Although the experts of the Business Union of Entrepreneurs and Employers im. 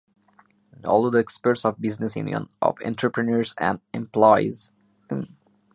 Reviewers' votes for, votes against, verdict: 1, 2, rejected